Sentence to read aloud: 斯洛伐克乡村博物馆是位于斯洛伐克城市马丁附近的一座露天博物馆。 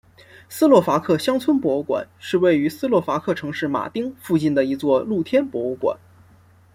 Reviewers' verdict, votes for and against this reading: accepted, 2, 0